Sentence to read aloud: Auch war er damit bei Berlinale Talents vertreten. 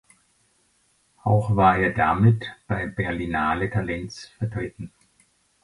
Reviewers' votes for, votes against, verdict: 2, 0, accepted